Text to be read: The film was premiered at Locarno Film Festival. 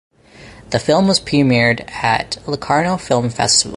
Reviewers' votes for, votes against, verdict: 2, 4, rejected